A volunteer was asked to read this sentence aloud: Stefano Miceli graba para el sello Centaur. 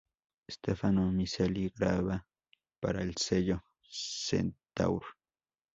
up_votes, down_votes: 2, 0